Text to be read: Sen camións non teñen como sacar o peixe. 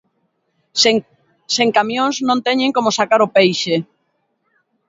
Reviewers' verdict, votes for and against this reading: rejected, 0, 2